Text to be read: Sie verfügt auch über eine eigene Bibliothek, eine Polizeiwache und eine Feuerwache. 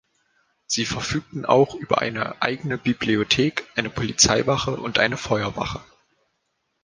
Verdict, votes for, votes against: rejected, 1, 2